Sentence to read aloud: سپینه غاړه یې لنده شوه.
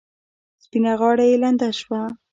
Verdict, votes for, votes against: rejected, 1, 2